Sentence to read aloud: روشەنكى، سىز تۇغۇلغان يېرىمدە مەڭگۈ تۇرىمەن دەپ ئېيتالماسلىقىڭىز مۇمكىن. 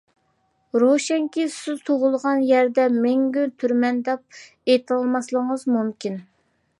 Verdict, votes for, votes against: rejected, 0, 2